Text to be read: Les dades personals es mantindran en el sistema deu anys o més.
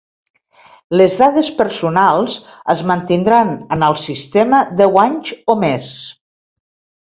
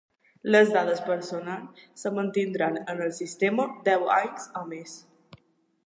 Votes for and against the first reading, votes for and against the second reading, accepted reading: 2, 0, 0, 2, first